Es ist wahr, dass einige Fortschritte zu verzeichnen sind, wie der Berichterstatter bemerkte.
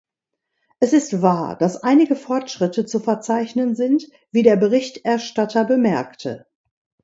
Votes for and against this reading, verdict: 2, 0, accepted